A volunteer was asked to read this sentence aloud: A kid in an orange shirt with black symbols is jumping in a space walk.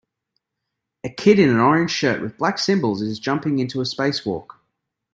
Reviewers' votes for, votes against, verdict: 0, 2, rejected